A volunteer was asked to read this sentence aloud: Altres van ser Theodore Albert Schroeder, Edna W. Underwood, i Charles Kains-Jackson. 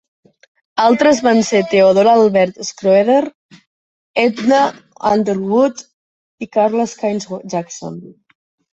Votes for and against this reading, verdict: 1, 2, rejected